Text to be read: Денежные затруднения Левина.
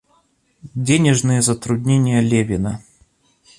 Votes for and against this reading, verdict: 2, 0, accepted